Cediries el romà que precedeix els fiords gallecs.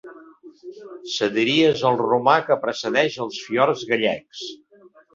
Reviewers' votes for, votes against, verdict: 1, 2, rejected